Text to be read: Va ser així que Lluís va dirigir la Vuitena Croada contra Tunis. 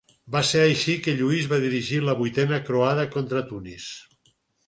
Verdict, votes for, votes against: accepted, 6, 0